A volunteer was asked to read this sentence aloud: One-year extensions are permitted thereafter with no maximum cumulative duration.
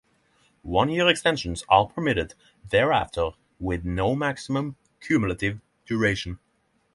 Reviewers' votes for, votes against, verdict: 0, 3, rejected